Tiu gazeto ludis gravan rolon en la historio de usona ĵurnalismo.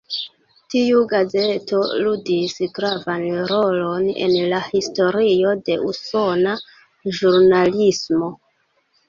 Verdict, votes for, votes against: accepted, 2, 0